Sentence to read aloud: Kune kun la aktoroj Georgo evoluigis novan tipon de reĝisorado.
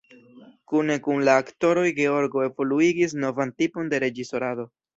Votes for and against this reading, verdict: 2, 0, accepted